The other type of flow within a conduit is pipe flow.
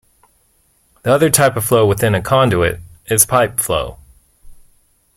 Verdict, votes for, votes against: accepted, 2, 0